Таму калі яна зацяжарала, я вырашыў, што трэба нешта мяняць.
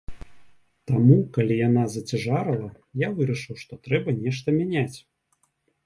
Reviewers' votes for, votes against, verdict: 2, 0, accepted